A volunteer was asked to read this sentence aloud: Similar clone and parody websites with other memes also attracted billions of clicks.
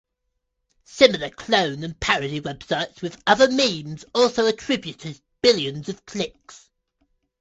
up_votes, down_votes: 0, 2